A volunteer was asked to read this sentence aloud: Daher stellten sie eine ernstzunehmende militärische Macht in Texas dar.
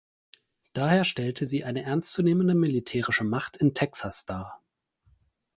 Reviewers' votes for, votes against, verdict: 2, 4, rejected